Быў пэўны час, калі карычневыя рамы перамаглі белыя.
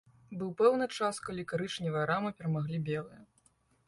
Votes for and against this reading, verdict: 2, 0, accepted